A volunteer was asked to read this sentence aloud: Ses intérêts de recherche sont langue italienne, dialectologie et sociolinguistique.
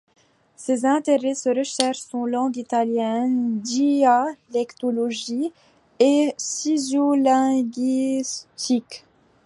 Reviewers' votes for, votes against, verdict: 1, 2, rejected